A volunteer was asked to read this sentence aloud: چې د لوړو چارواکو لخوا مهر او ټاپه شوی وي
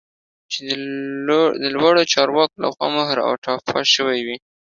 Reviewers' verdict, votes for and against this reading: accepted, 2, 0